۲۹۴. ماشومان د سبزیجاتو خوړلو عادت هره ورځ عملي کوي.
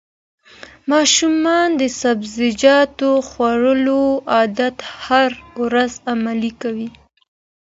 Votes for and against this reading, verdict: 0, 2, rejected